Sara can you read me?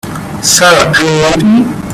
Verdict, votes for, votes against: rejected, 1, 3